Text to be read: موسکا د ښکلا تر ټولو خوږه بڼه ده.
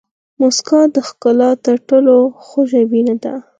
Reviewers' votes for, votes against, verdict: 4, 2, accepted